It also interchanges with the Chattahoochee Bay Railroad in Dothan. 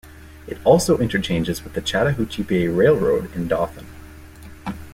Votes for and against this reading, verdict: 2, 0, accepted